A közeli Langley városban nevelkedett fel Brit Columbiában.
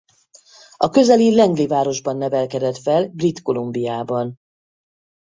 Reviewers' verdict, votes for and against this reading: accepted, 4, 0